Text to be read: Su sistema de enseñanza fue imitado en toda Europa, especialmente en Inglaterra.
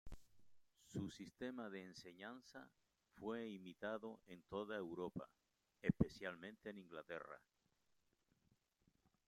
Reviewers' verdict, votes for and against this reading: rejected, 1, 2